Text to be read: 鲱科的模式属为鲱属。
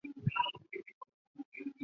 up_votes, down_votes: 0, 2